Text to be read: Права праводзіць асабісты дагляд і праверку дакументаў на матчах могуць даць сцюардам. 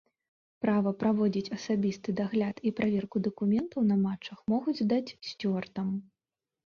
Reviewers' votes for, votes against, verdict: 2, 0, accepted